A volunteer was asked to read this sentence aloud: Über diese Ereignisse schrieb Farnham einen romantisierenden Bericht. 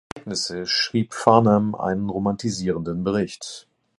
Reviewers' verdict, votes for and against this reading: rejected, 0, 2